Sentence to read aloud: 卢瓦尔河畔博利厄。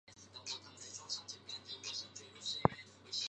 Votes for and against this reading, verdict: 0, 3, rejected